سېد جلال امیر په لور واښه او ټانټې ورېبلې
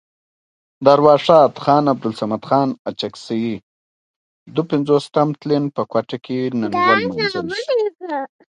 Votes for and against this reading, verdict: 2, 1, accepted